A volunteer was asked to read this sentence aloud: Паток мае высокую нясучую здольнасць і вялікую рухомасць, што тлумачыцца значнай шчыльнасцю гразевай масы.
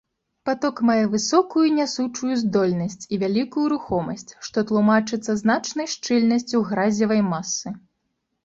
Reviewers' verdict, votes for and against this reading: accepted, 2, 0